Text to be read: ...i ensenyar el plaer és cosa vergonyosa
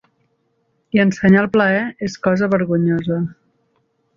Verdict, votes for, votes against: accepted, 3, 0